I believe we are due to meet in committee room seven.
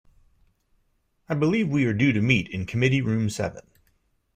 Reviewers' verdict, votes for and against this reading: accepted, 2, 0